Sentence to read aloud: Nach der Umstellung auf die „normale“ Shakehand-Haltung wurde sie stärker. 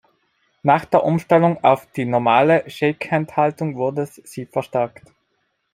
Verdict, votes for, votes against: rejected, 1, 2